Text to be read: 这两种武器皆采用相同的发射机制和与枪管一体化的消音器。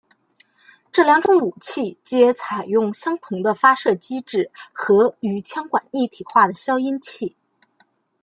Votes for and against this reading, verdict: 2, 0, accepted